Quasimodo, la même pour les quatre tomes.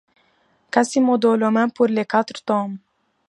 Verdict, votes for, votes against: rejected, 1, 2